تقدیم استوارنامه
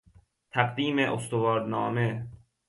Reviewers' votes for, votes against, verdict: 2, 0, accepted